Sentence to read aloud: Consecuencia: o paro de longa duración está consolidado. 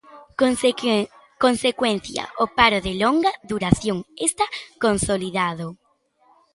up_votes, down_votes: 0, 2